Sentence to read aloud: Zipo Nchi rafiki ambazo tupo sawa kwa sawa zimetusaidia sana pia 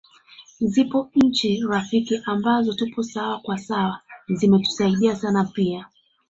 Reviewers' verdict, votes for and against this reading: accepted, 2, 1